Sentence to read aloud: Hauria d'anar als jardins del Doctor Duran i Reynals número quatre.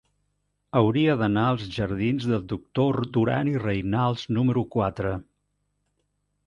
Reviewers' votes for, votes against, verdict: 1, 2, rejected